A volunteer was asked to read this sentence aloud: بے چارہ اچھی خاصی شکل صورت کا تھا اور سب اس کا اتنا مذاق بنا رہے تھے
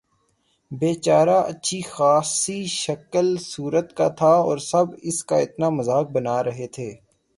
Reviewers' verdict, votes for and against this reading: accepted, 6, 0